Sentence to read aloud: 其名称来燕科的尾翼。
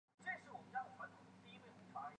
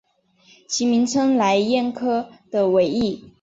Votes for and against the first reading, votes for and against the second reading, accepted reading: 1, 2, 2, 1, second